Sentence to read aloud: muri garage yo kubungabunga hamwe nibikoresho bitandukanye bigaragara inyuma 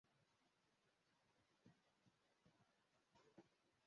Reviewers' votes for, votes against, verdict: 0, 2, rejected